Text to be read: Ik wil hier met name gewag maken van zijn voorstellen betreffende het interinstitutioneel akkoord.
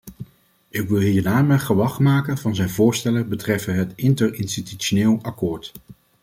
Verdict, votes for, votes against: rejected, 0, 2